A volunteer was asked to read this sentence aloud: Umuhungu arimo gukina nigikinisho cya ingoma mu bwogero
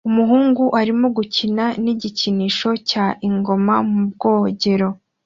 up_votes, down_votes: 2, 0